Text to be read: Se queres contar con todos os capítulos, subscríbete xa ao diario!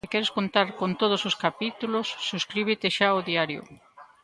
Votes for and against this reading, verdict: 0, 2, rejected